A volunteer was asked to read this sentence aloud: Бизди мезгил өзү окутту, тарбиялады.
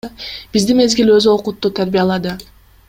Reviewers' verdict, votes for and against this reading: rejected, 1, 2